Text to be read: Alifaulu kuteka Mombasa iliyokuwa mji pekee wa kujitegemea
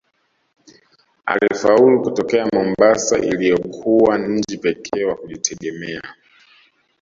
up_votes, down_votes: 0, 2